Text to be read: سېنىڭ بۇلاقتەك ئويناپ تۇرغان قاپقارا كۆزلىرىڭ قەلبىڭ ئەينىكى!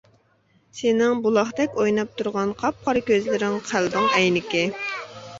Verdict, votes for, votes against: accepted, 2, 0